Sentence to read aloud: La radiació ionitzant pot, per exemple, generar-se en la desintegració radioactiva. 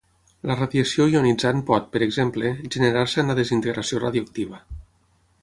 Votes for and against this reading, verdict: 6, 0, accepted